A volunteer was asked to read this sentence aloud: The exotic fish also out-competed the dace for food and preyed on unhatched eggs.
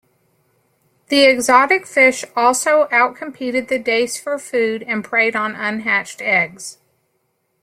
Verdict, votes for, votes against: accepted, 2, 0